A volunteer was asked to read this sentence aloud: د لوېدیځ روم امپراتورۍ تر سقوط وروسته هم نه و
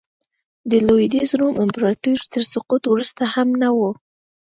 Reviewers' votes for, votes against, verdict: 2, 0, accepted